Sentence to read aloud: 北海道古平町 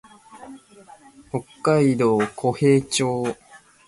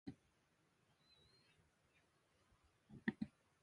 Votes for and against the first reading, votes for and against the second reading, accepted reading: 2, 0, 2, 5, first